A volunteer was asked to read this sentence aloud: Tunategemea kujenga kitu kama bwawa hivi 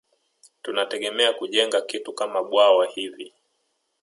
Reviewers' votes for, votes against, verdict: 1, 2, rejected